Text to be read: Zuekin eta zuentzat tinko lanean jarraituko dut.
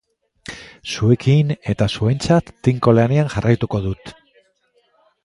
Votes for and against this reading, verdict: 3, 1, accepted